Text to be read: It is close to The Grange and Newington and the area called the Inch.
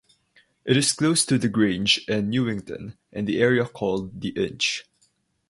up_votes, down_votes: 6, 0